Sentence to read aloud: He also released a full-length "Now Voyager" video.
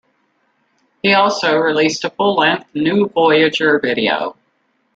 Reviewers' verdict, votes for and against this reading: rejected, 1, 2